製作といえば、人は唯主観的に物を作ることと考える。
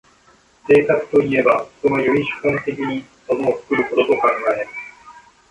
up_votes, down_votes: 1, 2